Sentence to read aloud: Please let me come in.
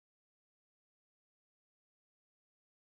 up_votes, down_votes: 0, 4